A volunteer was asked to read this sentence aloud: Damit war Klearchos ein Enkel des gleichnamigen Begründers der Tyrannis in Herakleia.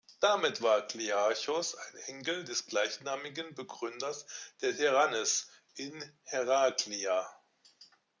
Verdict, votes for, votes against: accepted, 2, 0